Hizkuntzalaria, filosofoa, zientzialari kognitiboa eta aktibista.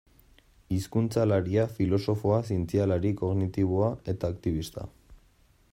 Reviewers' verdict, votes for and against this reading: accepted, 2, 0